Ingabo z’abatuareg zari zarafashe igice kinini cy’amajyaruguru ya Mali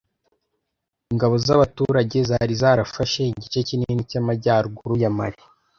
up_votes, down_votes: 1, 2